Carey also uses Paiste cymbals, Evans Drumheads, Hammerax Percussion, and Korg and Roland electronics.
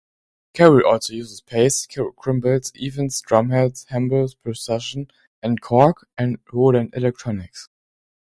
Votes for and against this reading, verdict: 1, 2, rejected